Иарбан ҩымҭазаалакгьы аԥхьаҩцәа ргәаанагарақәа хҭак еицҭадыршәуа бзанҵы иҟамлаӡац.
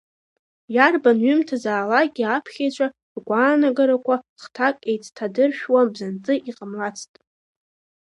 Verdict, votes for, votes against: accepted, 2, 0